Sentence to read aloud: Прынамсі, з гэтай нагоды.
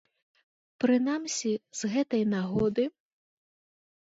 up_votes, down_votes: 2, 0